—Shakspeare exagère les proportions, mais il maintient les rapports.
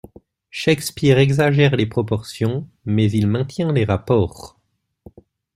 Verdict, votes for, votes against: accepted, 2, 1